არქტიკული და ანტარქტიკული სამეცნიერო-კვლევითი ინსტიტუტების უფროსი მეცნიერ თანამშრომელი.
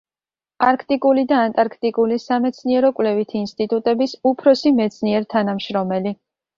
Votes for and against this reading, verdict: 2, 1, accepted